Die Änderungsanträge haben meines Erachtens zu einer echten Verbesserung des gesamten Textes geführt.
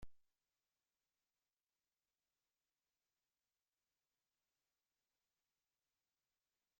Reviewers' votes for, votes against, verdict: 0, 2, rejected